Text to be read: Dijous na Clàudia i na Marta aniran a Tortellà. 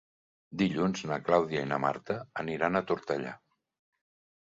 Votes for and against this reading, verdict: 1, 2, rejected